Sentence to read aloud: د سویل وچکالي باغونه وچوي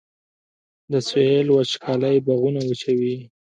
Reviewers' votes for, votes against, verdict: 2, 1, accepted